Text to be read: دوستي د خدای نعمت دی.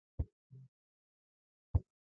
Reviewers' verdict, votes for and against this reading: rejected, 0, 2